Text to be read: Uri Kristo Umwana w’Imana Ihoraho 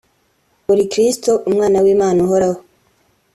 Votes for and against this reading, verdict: 2, 0, accepted